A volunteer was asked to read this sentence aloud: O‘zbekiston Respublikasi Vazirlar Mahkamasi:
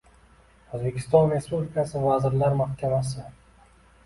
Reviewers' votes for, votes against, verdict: 2, 0, accepted